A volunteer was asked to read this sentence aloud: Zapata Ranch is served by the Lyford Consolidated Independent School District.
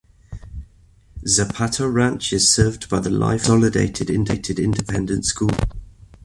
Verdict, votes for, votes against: rejected, 1, 2